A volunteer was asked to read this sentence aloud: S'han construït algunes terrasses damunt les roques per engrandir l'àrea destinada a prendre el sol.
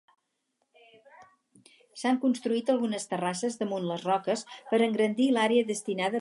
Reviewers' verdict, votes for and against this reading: rejected, 0, 4